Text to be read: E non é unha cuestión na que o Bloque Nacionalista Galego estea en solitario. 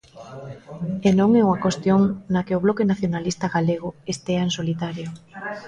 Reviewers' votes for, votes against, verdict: 0, 2, rejected